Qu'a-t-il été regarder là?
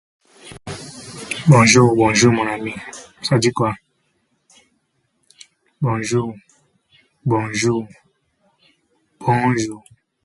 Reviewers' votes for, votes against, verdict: 0, 2, rejected